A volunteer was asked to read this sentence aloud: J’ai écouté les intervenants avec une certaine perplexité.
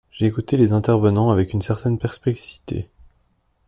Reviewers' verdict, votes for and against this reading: accepted, 2, 0